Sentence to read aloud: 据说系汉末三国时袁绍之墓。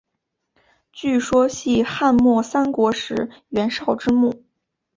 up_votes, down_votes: 5, 0